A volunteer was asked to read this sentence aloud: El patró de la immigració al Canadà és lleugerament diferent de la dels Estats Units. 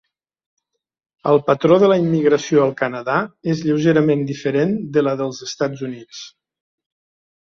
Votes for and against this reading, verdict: 3, 0, accepted